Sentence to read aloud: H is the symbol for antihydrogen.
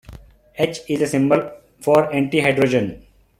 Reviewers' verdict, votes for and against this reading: accepted, 2, 0